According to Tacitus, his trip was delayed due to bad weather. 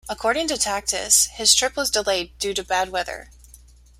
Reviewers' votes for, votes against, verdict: 1, 2, rejected